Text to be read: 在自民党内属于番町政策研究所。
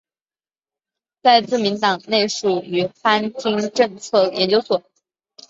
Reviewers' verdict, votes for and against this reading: accepted, 2, 0